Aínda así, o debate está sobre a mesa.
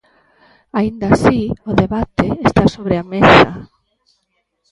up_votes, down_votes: 1, 2